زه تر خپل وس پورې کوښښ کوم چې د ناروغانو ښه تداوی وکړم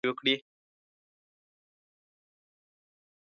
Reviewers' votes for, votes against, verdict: 1, 2, rejected